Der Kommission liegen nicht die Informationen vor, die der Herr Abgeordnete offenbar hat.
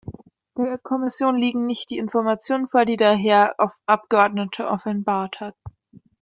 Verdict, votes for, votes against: rejected, 0, 2